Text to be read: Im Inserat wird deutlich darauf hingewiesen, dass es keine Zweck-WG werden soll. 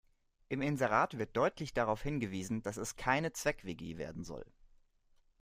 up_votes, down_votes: 2, 0